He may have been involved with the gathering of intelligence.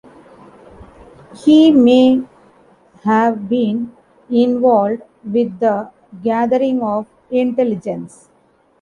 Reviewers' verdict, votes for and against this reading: accepted, 2, 0